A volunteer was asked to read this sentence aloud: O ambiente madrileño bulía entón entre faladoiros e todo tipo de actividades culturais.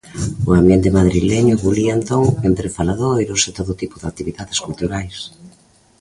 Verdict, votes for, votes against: accepted, 2, 0